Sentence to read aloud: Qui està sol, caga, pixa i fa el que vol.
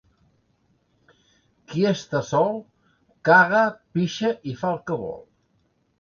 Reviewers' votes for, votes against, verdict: 2, 0, accepted